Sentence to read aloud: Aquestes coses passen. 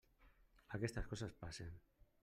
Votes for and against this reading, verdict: 0, 2, rejected